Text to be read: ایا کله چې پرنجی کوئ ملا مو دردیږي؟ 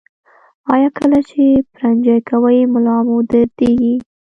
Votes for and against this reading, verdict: 0, 2, rejected